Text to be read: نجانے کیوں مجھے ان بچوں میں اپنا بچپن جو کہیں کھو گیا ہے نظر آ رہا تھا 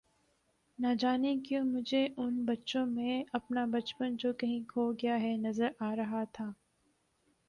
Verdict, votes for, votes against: accepted, 2, 0